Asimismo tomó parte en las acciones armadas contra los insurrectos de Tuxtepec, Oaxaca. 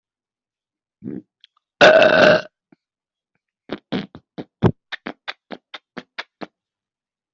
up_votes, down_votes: 0, 2